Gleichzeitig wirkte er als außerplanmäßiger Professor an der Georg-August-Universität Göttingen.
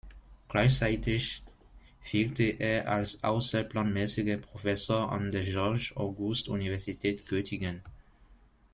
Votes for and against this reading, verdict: 1, 2, rejected